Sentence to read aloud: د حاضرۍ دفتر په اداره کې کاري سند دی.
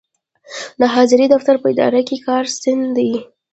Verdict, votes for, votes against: rejected, 0, 2